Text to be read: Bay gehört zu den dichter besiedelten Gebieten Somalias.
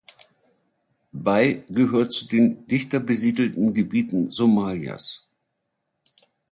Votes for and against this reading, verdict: 2, 0, accepted